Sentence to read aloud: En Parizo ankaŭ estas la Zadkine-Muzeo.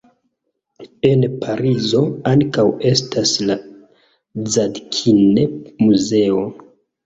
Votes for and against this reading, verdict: 2, 1, accepted